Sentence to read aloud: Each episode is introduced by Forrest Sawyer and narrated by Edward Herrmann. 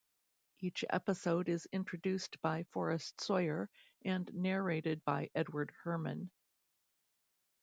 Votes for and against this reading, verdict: 2, 0, accepted